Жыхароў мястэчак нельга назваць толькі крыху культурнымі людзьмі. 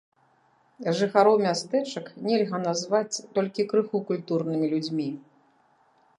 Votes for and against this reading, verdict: 2, 0, accepted